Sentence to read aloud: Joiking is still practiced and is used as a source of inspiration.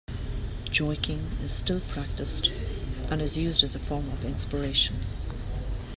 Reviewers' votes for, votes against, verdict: 0, 2, rejected